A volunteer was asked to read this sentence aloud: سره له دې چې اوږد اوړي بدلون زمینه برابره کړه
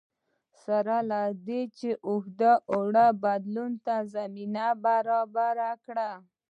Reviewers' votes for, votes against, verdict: 1, 2, rejected